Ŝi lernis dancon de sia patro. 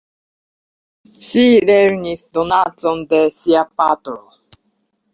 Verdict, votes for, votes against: rejected, 0, 2